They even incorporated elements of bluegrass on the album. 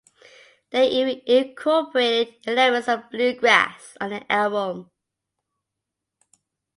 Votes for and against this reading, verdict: 3, 1, accepted